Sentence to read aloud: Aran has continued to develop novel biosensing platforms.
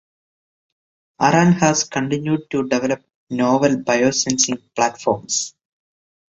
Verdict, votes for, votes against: accepted, 2, 0